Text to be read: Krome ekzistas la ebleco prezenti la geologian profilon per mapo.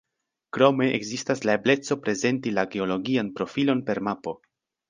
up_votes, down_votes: 2, 0